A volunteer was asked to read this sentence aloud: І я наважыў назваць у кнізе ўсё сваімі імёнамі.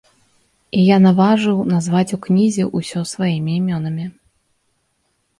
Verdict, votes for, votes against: rejected, 0, 2